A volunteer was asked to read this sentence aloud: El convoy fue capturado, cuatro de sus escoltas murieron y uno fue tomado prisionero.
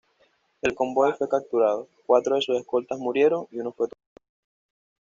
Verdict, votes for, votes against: rejected, 1, 2